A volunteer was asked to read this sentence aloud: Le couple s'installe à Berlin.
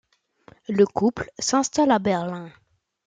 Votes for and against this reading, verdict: 2, 0, accepted